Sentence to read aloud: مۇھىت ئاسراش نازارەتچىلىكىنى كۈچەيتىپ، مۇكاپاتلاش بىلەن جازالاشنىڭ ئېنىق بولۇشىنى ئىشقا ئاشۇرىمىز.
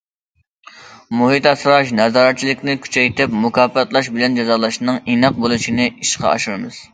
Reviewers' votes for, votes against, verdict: 1, 2, rejected